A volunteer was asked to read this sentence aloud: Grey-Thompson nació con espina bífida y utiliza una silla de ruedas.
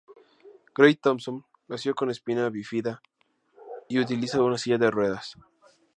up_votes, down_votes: 2, 0